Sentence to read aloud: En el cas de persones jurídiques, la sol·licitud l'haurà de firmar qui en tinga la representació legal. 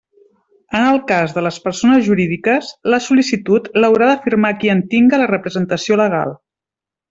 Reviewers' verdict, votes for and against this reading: rejected, 0, 2